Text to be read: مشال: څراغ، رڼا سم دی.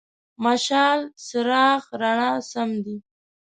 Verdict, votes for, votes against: rejected, 0, 2